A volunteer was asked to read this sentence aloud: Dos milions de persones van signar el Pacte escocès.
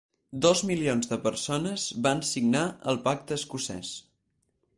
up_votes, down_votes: 4, 0